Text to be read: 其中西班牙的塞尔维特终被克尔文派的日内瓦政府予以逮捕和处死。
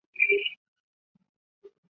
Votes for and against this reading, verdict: 0, 2, rejected